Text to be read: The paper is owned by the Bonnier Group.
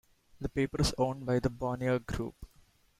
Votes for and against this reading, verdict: 1, 2, rejected